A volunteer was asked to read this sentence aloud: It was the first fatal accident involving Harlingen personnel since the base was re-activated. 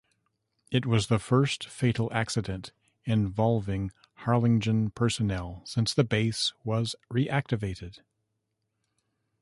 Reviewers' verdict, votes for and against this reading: rejected, 0, 2